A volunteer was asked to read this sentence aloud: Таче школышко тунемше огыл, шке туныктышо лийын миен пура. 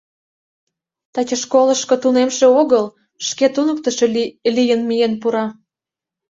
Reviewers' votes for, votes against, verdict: 0, 2, rejected